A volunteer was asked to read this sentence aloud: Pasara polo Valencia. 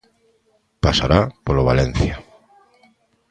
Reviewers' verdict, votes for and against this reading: rejected, 0, 2